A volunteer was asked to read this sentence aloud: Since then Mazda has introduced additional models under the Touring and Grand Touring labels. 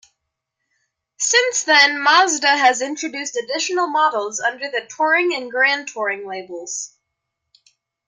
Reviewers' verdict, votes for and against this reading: accepted, 3, 0